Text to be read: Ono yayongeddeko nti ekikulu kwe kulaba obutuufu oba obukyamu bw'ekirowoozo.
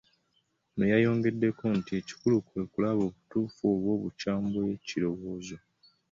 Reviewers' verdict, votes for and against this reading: accepted, 2, 0